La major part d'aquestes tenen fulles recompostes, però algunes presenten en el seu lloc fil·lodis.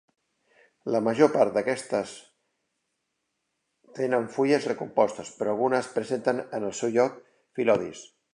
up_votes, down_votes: 2, 1